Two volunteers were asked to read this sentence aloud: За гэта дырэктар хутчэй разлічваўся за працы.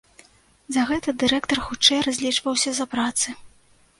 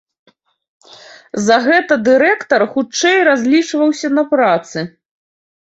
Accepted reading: first